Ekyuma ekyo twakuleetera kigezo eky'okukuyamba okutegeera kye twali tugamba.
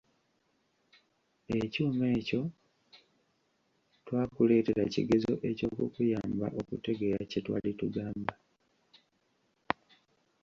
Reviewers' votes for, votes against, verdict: 2, 0, accepted